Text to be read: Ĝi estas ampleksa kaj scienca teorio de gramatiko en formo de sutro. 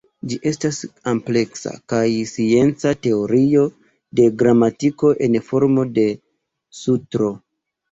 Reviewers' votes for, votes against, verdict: 1, 2, rejected